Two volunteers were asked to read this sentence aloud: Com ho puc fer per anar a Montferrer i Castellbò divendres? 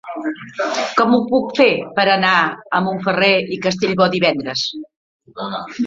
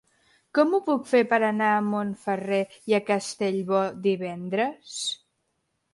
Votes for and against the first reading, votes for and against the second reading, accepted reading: 3, 1, 1, 2, first